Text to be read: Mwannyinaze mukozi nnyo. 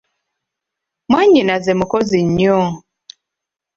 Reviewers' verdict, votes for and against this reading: rejected, 1, 2